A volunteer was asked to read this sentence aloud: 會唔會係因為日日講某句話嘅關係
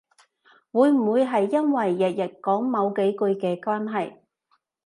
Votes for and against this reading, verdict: 1, 2, rejected